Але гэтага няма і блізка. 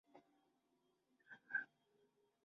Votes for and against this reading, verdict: 0, 2, rejected